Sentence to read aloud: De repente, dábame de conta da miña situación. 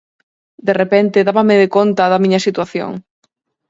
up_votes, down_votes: 4, 0